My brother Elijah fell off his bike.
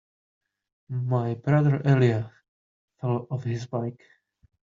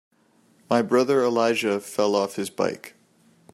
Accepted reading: second